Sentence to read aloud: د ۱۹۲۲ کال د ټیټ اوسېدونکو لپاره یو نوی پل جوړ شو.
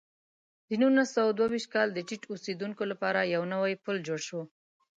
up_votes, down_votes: 0, 2